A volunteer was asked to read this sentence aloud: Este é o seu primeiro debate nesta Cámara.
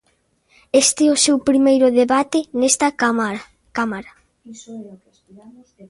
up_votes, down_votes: 0, 2